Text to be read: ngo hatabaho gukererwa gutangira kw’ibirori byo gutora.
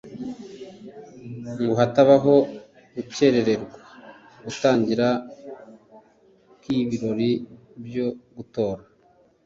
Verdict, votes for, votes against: accepted, 2, 0